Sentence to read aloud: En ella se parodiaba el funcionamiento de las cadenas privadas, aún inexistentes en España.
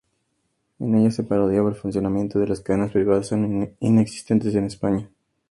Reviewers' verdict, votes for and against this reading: accepted, 2, 0